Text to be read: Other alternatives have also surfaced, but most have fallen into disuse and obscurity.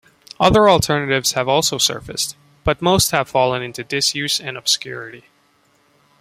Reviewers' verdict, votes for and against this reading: accepted, 2, 0